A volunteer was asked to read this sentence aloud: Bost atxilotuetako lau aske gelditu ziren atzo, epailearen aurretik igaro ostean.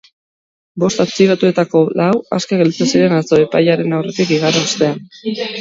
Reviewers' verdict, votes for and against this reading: rejected, 0, 2